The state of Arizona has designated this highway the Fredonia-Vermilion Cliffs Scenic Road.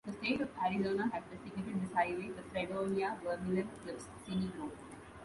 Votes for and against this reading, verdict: 1, 2, rejected